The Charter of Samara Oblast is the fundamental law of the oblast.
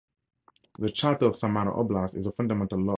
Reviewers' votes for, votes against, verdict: 0, 4, rejected